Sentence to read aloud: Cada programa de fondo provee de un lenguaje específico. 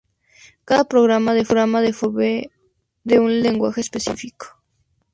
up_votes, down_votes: 0, 2